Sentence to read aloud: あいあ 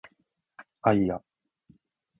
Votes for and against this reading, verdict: 2, 0, accepted